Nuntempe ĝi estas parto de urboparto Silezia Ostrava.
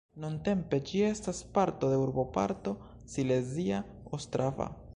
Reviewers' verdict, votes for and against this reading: rejected, 1, 2